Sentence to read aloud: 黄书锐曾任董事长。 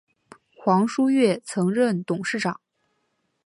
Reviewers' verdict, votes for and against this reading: accepted, 2, 0